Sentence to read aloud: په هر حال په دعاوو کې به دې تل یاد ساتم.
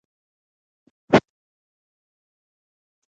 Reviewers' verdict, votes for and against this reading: rejected, 1, 2